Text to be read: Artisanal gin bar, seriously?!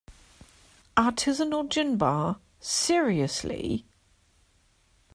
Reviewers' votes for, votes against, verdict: 3, 0, accepted